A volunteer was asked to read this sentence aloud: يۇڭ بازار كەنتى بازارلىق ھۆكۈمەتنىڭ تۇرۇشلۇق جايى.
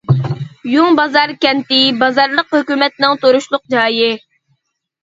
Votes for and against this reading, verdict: 2, 0, accepted